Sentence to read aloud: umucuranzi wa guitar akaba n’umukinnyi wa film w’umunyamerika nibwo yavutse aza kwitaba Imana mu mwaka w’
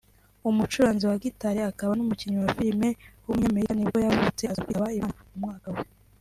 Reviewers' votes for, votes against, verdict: 0, 2, rejected